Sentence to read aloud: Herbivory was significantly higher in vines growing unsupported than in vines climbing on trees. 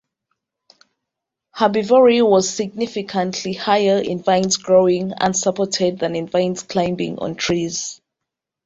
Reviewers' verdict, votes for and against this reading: accepted, 2, 0